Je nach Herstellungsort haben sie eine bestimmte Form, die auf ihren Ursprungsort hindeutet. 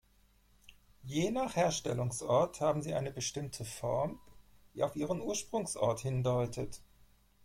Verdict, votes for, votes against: accepted, 4, 0